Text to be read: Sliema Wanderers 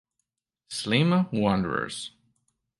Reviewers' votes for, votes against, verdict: 2, 0, accepted